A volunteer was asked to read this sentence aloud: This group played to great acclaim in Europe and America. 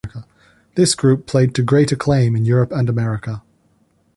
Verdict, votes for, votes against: accepted, 2, 0